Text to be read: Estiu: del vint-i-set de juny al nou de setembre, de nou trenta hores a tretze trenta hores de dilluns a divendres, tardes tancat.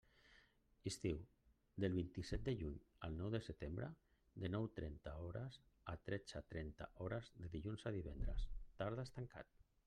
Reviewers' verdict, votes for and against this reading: accepted, 2, 1